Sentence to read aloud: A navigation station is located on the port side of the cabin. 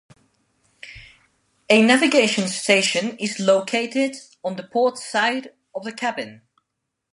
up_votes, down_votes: 2, 0